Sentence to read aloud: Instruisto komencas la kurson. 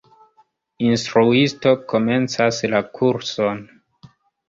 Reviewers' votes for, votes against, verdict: 2, 1, accepted